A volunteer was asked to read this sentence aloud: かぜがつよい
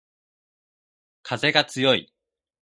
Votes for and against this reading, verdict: 2, 0, accepted